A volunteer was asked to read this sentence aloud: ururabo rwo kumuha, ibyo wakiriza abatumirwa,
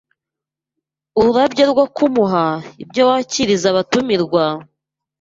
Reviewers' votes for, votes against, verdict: 0, 2, rejected